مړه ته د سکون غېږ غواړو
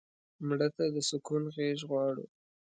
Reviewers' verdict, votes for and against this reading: accepted, 3, 0